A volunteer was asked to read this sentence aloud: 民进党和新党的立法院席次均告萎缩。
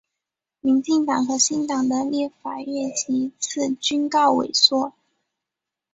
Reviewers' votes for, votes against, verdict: 6, 1, accepted